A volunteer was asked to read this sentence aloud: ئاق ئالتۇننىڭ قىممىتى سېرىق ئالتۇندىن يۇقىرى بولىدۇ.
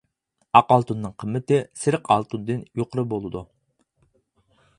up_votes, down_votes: 4, 0